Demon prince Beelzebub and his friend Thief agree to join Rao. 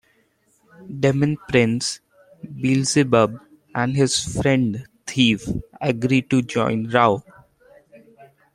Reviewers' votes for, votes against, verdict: 2, 1, accepted